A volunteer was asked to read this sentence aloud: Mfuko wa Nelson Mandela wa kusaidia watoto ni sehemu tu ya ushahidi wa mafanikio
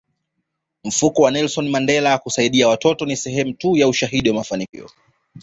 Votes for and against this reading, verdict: 2, 0, accepted